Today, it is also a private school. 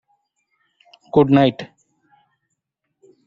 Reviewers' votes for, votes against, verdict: 0, 2, rejected